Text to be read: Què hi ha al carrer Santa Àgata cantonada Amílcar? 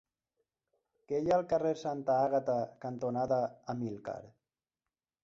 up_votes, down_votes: 3, 0